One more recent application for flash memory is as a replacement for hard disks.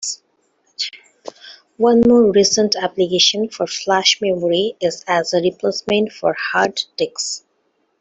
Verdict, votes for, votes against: accepted, 2, 0